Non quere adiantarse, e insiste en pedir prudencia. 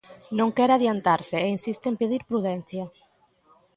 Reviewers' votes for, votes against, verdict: 2, 0, accepted